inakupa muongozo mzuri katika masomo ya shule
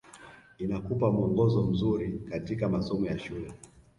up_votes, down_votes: 0, 2